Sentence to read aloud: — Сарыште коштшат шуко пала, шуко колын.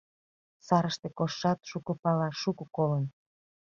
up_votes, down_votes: 2, 0